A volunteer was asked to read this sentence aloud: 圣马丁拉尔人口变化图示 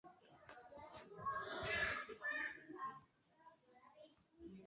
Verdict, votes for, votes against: rejected, 0, 2